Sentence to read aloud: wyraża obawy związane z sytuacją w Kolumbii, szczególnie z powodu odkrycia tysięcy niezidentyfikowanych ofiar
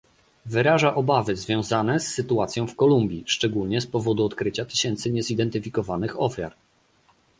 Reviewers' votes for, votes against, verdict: 3, 0, accepted